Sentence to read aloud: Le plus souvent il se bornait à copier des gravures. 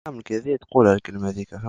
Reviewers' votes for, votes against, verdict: 0, 2, rejected